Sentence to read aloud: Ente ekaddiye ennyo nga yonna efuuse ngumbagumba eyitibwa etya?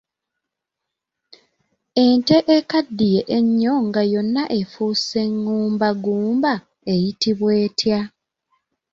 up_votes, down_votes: 2, 0